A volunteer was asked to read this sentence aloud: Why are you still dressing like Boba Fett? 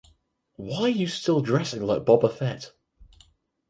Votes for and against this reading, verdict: 4, 2, accepted